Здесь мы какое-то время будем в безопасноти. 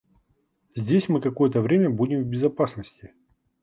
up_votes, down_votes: 2, 0